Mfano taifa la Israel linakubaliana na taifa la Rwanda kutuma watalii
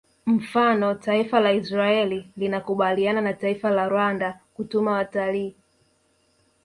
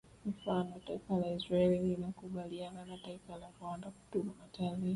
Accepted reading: first